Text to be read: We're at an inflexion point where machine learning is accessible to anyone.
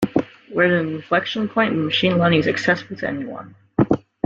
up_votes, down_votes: 1, 2